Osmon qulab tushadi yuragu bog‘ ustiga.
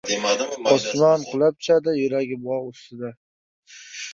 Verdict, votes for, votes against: rejected, 1, 2